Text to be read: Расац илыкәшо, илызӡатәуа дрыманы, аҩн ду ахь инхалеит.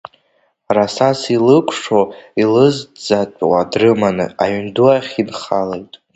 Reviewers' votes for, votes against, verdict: 1, 2, rejected